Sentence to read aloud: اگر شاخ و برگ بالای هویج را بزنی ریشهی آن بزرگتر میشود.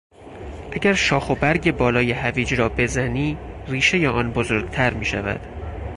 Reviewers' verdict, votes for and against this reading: accepted, 4, 0